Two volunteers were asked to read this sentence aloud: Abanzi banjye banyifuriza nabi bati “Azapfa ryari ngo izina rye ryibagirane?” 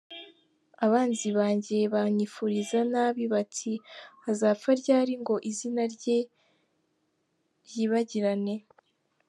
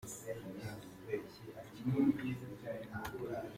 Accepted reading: first